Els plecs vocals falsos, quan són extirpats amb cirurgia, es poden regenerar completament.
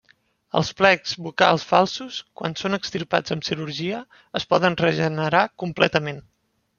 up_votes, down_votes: 2, 0